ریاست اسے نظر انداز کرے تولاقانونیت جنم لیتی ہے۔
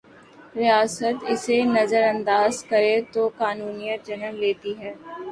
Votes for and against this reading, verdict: 0, 2, rejected